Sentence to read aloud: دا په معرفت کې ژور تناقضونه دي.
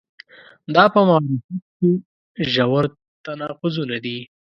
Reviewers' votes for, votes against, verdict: 2, 0, accepted